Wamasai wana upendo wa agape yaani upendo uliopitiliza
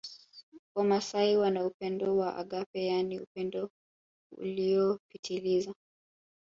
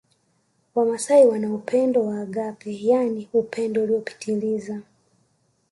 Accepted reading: second